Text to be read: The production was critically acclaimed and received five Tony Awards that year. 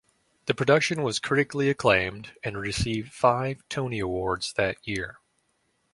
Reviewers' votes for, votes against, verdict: 2, 0, accepted